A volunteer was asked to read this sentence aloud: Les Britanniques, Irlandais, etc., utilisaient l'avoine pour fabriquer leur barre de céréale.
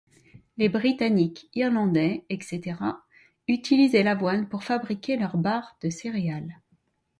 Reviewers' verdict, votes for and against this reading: accepted, 2, 0